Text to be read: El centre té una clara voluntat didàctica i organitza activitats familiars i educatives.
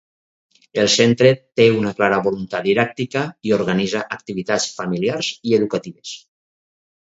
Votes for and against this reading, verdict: 2, 0, accepted